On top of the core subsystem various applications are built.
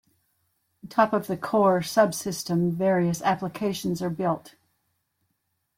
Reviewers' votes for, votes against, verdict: 2, 0, accepted